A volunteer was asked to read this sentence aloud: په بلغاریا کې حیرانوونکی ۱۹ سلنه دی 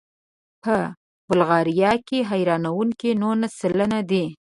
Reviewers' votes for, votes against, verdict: 0, 2, rejected